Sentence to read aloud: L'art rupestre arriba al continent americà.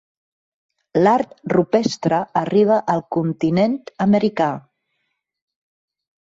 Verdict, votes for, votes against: accepted, 4, 0